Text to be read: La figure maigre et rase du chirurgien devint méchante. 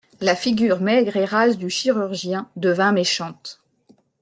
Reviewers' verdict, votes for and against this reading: accepted, 2, 0